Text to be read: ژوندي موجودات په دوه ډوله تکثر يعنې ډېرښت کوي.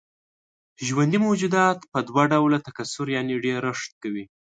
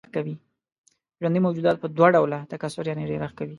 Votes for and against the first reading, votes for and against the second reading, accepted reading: 2, 0, 0, 2, first